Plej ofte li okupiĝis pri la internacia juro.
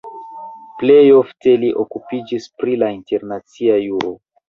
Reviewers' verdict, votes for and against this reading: accepted, 2, 1